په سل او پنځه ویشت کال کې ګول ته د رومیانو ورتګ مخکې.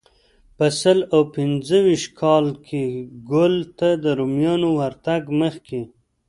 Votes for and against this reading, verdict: 2, 0, accepted